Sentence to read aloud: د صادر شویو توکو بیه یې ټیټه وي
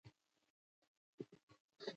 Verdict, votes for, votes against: rejected, 1, 2